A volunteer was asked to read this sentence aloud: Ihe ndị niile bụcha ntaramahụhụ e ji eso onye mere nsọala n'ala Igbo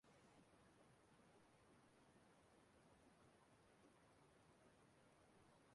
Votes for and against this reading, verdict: 0, 2, rejected